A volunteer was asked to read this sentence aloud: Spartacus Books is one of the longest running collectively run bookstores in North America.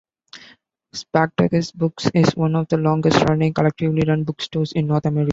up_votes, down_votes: 1, 2